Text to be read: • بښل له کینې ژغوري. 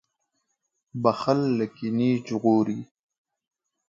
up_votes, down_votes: 2, 1